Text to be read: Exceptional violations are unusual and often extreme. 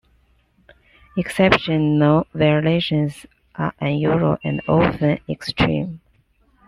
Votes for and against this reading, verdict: 2, 1, accepted